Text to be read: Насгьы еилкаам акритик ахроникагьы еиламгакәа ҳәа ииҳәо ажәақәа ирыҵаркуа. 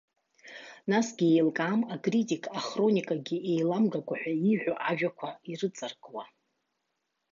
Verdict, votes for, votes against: accepted, 2, 0